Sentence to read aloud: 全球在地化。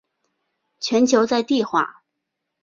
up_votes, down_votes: 2, 0